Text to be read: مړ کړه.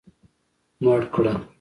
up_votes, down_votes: 2, 0